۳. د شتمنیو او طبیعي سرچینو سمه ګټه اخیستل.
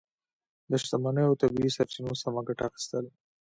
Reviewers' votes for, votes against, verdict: 0, 2, rejected